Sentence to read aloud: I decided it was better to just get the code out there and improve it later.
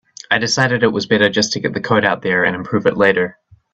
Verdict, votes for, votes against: accepted, 2, 1